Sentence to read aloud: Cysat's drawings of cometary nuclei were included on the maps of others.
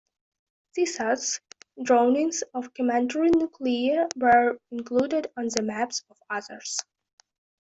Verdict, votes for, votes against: rejected, 1, 2